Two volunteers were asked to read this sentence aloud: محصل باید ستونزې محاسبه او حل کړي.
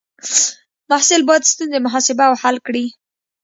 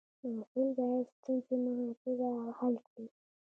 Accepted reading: first